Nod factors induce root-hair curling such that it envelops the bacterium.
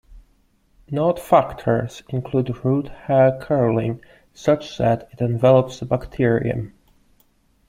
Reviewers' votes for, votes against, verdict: 0, 2, rejected